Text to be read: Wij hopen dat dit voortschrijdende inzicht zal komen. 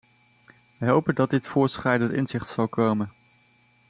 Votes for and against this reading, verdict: 2, 0, accepted